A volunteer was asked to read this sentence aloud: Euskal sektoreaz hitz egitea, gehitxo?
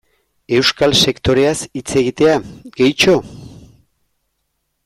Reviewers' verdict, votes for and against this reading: accepted, 2, 0